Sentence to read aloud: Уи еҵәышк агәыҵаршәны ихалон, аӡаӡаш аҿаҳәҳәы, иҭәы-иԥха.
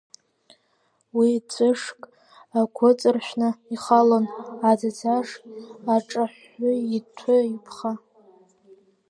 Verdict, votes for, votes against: accepted, 2, 0